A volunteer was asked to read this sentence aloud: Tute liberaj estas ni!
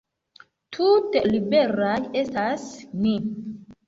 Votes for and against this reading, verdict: 2, 1, accepted